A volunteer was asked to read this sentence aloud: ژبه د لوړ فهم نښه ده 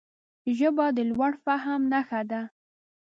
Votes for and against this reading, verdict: 2, 0, accepted